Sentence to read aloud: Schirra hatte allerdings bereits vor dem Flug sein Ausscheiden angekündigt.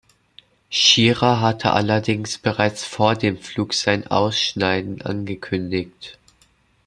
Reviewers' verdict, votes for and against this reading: rejected, 0, 2